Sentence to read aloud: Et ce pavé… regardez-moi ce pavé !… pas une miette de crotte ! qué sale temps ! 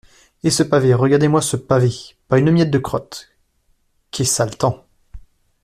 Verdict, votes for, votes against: rejected, 0, 2